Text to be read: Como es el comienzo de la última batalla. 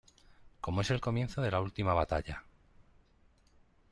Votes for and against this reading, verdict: 2, 0, accepted